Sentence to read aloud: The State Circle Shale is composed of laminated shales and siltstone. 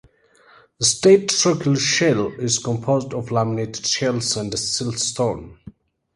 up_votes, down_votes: 2, 0